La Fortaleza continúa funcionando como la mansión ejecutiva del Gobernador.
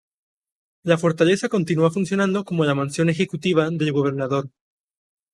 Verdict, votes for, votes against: accepted, 2, 0